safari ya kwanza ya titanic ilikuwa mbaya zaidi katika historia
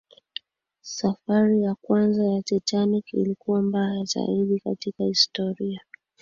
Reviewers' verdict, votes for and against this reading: accepted, 2, 1